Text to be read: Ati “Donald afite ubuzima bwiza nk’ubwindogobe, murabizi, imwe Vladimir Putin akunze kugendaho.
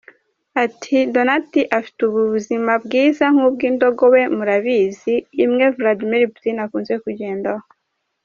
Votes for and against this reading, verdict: 1, 2, rejected